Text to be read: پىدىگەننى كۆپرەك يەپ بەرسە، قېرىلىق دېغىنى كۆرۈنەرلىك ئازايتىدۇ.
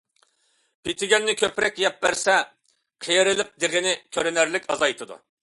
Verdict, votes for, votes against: accepted, 2, 0